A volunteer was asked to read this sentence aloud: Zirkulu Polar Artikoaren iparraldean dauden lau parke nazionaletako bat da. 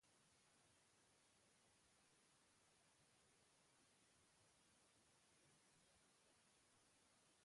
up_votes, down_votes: 0, 3